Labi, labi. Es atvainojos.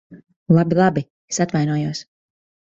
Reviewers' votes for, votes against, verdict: 2, 0, accepted